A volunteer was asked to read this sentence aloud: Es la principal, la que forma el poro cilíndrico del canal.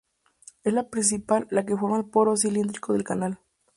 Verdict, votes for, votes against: rejected, 0, 2